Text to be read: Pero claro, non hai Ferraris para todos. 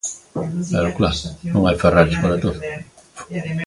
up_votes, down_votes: 2, 1